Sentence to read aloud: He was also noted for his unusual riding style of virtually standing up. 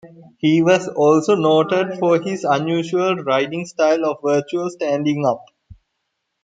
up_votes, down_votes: 1, 2